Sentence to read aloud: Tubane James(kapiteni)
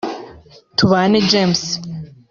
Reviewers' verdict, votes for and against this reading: rejected, 0, 2